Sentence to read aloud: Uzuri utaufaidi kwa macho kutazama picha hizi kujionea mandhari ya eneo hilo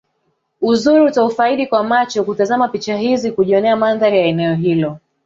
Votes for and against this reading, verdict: 1, 2, rejected